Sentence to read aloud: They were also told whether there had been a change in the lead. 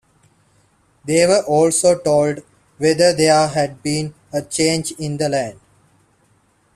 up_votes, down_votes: 2, 0